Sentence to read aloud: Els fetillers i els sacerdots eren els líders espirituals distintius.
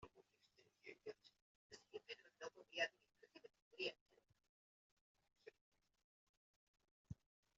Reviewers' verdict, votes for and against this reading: rejected, 0, 2